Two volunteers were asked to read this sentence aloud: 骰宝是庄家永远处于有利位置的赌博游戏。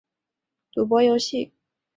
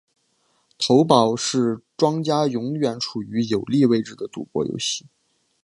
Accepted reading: second